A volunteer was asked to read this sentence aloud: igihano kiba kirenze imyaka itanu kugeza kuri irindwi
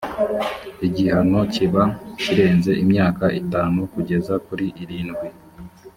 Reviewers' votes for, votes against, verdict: 2, 0, accepted